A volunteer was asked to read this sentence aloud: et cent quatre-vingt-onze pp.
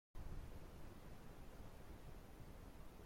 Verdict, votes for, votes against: rejected, 0, 3